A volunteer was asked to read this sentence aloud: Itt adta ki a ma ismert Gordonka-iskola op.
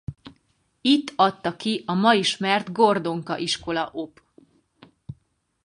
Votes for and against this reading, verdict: 2, 2, rejected